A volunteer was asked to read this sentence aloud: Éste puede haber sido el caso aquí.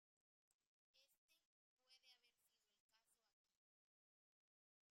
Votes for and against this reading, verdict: 0, 2, rejected